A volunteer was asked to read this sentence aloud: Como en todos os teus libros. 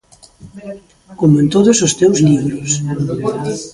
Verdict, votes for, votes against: accepted, 2, 0